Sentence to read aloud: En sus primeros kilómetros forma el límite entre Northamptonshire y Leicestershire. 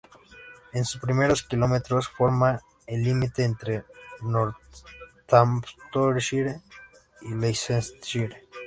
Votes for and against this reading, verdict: 0, 2, rejected